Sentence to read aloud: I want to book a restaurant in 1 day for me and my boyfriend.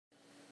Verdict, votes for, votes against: rejected, 0, 2